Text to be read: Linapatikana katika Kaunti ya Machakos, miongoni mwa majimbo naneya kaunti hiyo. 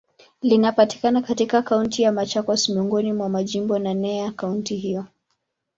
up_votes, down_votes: 2, 0